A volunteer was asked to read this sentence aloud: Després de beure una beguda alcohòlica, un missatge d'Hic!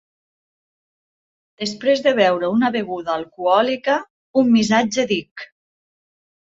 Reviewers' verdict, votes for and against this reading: accepted, 2, 0